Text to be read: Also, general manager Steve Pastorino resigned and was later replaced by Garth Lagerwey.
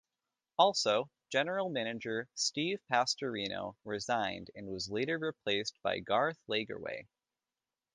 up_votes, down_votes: 2, 1